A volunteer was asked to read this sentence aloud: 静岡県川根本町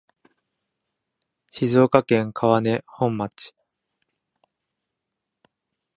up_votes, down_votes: 2, 0